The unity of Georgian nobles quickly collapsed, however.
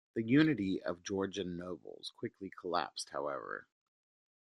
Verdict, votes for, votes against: accepted, 2, 1